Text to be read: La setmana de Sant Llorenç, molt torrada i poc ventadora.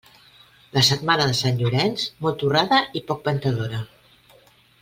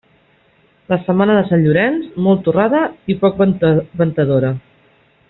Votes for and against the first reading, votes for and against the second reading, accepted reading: 2, 0, 0, 2, first